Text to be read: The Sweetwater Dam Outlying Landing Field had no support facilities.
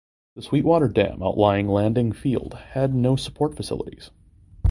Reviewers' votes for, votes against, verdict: 2, 0, accepted